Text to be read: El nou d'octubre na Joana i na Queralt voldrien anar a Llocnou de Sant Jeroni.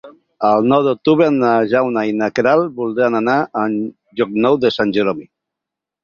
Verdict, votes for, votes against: rejected, 0, 4